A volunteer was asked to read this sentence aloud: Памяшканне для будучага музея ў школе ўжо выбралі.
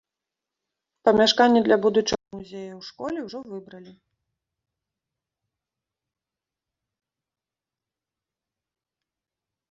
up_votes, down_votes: 1, 2